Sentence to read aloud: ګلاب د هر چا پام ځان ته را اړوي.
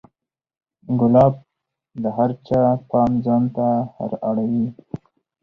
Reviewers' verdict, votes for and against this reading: accepted, 4, 0